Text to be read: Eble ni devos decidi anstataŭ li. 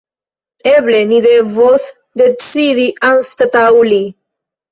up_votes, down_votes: 1, 2